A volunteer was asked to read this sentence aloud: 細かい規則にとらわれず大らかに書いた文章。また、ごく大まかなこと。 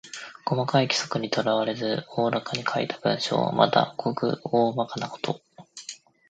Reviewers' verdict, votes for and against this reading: rejected, 1, 2